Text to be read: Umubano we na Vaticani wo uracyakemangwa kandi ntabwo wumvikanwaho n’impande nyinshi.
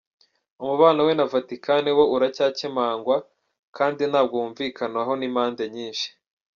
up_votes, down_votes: 2, 3